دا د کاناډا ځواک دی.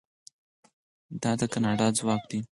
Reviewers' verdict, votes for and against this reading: accepted, 4, 0